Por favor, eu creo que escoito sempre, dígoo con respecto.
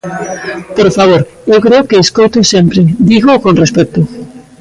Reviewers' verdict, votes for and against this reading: accepted, 2, 1